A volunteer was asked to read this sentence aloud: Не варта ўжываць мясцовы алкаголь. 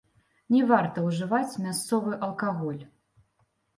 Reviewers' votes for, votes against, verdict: 0, 2, rejected